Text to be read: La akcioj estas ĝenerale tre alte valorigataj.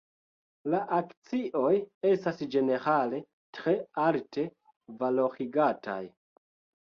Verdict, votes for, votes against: rejected, 2, 3